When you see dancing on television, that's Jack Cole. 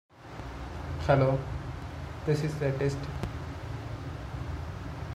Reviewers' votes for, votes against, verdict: 0, 2, rejected